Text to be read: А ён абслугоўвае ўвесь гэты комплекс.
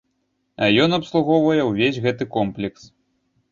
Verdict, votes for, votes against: accepted, 2, 0